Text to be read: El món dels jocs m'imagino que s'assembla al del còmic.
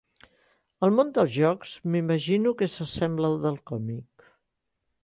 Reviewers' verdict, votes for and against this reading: accepted, 3, 0